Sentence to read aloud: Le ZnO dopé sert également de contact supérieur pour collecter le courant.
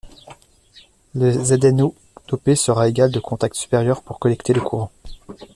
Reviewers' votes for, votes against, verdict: 0, 2, rejected